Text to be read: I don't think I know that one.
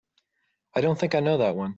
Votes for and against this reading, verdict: 5, 0, accepted